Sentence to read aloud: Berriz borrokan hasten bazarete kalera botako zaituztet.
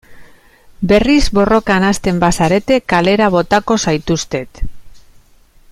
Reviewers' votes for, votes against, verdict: 0, 2, rejected